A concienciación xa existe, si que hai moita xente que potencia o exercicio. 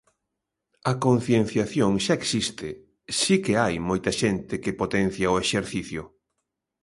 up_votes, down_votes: 2, 0